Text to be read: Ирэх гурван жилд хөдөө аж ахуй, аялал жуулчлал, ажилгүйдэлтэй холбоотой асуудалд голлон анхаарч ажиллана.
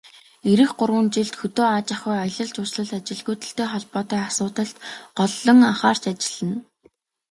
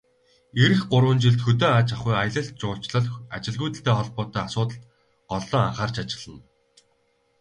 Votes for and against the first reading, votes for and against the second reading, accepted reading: 2, 0, 0, 2, first